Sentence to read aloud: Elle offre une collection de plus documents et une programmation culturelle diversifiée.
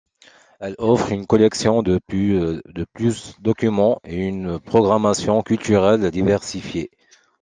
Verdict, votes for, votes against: rejected, 1, 2